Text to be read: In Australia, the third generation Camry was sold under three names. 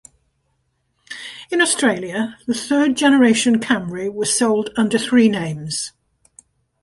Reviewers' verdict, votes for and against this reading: accepted, 2, 0